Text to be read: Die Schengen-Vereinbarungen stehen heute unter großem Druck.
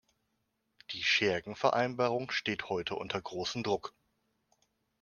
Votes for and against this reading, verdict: 0, 2, rejected